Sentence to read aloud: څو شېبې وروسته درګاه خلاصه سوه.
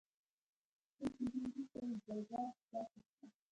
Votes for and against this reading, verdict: 0, 2, rejected